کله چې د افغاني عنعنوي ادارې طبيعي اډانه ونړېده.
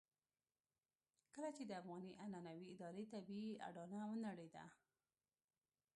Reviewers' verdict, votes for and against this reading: rejected, 1, 2